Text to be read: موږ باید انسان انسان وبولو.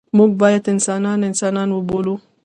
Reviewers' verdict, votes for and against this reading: rejected, 1, 2